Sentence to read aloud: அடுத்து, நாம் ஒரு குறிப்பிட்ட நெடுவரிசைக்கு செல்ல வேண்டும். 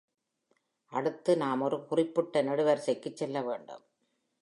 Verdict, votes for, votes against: accepted, 2, 0